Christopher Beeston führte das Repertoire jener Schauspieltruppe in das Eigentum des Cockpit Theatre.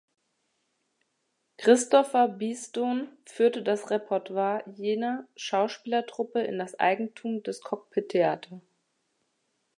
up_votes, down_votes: 0, 2